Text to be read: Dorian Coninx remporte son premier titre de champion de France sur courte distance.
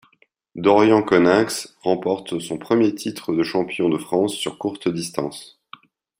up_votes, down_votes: 2, 0